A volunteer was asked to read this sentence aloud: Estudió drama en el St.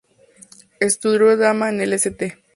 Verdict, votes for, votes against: accepted, 2, 0